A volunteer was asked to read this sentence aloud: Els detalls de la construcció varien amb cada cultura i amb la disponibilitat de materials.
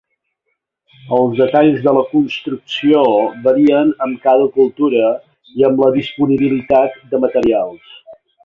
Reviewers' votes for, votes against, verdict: 1, 2, rejected